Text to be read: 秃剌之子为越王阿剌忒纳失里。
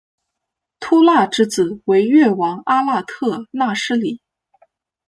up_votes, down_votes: 0, 2